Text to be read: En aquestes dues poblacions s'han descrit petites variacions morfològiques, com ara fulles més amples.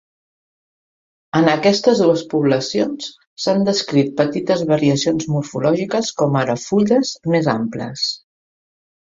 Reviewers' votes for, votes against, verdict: 5, 0, accepted